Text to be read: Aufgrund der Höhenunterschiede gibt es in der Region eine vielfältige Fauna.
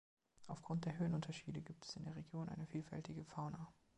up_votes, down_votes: 2, 0